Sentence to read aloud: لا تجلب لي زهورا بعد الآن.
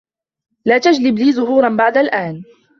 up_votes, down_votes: 2, 0